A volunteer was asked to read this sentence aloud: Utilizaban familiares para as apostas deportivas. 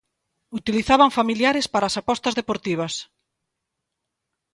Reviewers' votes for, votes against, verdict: 2, 0, accepted